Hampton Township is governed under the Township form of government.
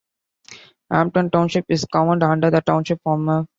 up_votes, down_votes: 0, 2